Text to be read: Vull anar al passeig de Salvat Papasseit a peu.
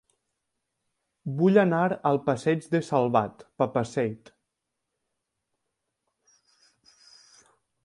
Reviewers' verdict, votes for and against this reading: rejected, 0, 2